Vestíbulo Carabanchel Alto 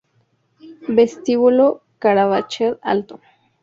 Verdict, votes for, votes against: rejected, 0, 2